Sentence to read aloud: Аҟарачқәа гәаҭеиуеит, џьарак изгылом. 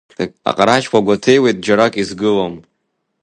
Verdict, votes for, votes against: accepted, 2, 0